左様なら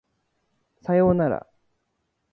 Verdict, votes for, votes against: accepted, 2, 1